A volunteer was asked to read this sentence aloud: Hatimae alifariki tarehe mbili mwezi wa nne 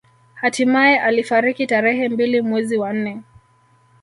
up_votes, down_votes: 1, 2